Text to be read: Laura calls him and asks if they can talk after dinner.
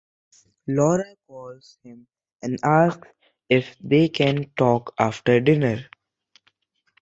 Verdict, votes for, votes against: accepted, 2, 0